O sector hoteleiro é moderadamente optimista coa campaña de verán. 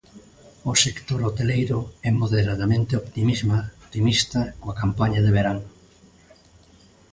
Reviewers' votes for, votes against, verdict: 0, 2, rejected